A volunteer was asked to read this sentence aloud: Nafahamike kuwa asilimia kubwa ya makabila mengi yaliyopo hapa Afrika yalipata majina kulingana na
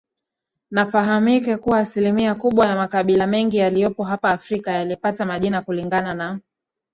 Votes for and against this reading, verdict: 2, 0, accepted